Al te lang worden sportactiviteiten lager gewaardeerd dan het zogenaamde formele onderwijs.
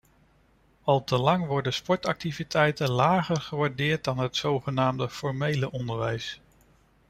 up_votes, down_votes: 2, 0